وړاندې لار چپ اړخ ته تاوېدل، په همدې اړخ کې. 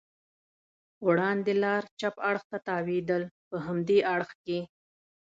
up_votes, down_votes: 2, 0